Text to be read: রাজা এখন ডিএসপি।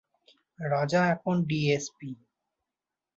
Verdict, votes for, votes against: accepted, 2, 0